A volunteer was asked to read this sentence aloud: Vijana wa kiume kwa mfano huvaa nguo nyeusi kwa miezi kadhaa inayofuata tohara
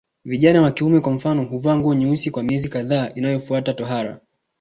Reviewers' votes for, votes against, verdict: 2, 0, accepted